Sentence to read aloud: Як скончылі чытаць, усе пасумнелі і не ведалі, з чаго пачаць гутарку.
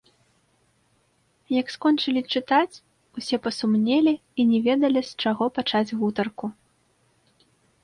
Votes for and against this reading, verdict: 1, 2, rejected